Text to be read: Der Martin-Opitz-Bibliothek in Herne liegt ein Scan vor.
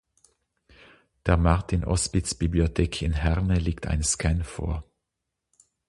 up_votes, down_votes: 0, 6